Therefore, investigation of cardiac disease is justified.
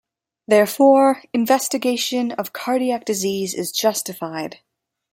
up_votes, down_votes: 2, 0